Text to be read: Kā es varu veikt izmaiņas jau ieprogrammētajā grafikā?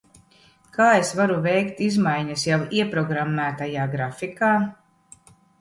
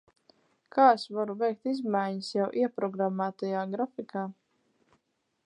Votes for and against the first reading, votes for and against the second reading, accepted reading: 2, 0, 2, 4, first